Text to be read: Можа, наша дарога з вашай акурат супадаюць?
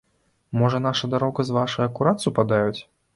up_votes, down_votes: 2, 0